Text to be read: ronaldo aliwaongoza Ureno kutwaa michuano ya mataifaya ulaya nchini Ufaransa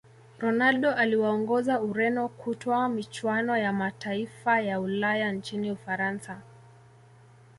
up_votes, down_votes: 2, 0